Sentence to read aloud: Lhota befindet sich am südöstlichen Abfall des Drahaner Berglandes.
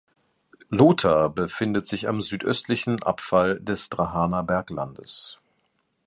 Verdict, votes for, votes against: accepted, 2, 0